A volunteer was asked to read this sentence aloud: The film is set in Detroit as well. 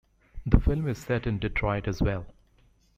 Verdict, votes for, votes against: rejected, 1, 2